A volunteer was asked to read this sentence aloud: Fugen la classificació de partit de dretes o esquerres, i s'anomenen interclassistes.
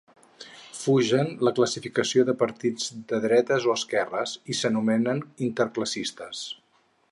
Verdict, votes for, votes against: accepted, 4, 0